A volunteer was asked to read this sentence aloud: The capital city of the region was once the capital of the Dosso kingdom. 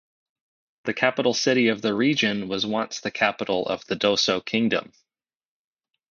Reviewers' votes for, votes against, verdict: 4, 0, accepted